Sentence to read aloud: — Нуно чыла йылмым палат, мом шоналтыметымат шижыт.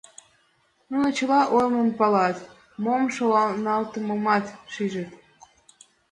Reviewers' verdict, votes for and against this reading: rejected, 0, 4